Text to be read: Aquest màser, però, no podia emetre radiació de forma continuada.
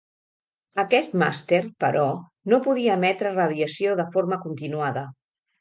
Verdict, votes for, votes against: rejected, 1, 2